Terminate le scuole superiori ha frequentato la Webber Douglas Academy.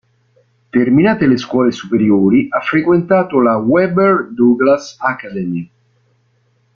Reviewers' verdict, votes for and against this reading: rejected, 0, 2